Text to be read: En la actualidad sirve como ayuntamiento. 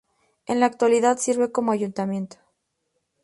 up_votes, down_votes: 2, 0